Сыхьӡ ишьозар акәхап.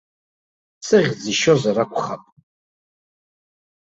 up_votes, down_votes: 2, 0